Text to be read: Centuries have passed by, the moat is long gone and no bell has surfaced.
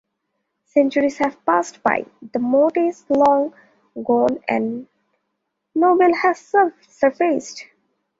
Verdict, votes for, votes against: rejected, 0, 2